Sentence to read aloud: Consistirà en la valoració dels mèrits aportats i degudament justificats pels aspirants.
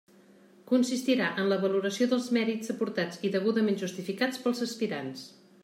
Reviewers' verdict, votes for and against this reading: accepted, 2, 0